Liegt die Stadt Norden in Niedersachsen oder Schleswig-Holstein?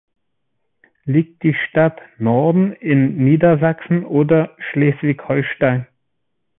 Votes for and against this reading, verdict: 3, 0, accepted